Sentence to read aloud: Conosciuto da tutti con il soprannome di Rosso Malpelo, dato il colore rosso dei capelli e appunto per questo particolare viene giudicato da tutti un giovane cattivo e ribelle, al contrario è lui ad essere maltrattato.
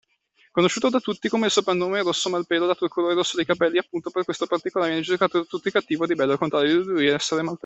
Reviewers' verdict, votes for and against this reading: rejected, 0, 2